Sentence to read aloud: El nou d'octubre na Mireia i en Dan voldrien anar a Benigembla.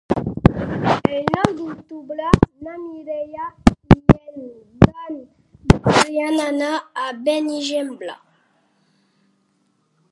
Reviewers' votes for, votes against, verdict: 1, 2, rejected